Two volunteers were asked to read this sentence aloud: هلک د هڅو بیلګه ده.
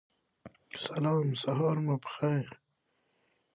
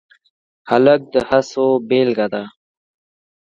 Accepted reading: second